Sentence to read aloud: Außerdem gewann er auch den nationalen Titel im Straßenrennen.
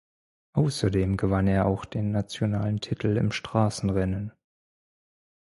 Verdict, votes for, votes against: accepted, 4, 0